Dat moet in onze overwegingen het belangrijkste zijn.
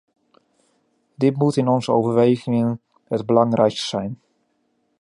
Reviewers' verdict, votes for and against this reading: rejected, 0, 2